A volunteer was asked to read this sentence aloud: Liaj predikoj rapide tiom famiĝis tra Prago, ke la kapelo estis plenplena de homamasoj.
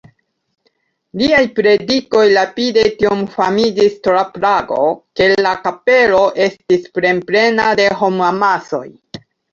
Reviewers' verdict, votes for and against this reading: accepted, 2, 0